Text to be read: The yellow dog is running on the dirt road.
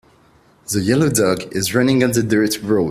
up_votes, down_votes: 2, 1